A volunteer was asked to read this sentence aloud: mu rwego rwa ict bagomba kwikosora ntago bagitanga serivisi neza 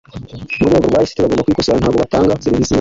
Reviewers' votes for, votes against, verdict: 1, 2, rejected